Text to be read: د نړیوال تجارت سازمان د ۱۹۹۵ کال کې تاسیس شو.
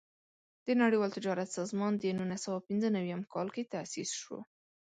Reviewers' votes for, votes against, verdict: 0, 2, rejected